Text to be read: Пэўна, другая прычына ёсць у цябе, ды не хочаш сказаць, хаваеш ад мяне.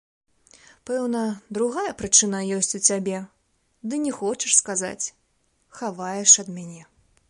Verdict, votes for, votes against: accepted, 2, 0